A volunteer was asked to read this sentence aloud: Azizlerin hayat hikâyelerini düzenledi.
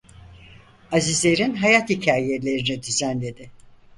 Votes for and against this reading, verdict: 2, 4, rejected